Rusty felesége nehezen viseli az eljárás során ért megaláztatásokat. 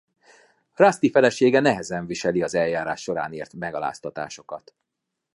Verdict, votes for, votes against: accepted, 2, 0